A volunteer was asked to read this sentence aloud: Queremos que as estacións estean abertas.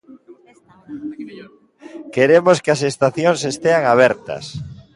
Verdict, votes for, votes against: rejected, 0, 2